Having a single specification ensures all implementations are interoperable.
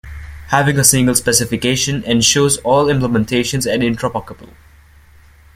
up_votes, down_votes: 0, 2